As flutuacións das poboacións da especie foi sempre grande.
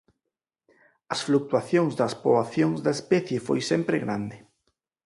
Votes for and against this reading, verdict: 0, 4, rejected